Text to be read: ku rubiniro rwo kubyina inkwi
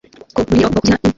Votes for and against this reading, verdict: 1, 2, rejected